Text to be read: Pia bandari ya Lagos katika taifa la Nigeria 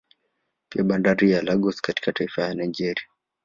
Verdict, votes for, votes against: accepted, 2, 1